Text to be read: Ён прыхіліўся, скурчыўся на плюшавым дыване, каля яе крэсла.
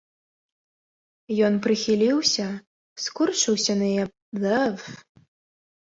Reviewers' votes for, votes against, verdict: 0, 2, rejected